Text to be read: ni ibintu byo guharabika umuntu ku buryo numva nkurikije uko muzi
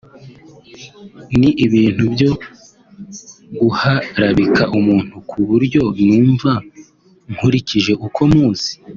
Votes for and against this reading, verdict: 3, 0, accepted